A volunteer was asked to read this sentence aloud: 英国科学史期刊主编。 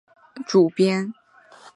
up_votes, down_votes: 1, 3